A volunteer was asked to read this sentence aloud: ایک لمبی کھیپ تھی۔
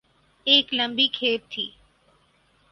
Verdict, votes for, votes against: rejected, 0, 2